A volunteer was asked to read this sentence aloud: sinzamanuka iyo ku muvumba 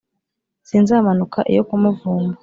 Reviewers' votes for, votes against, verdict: 2, 0, accepted